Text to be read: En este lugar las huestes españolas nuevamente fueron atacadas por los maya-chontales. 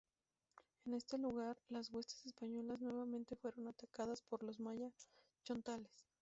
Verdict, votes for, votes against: accepted, 2, 0